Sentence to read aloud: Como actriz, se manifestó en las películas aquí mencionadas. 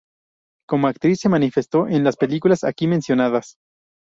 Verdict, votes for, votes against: accepted, 2, 0